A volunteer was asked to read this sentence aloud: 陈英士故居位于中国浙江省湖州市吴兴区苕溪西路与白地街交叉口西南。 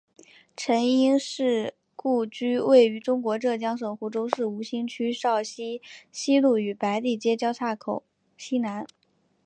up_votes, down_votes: 2, 0